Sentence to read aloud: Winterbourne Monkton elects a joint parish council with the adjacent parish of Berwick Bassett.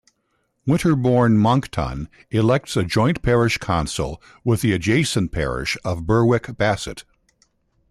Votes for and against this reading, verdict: 2, 0, accepted